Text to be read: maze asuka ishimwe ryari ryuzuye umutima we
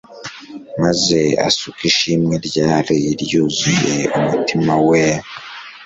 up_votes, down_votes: 2, 0